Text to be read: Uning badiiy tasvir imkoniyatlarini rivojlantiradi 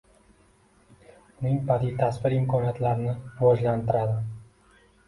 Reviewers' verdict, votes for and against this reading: accepted, 2, 0